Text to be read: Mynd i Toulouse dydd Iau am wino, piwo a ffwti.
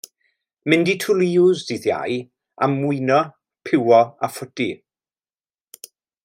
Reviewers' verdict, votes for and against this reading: rejected, 1, 2